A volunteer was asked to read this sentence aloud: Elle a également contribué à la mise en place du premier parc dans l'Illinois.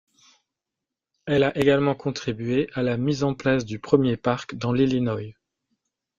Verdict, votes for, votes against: rejected, 1, 2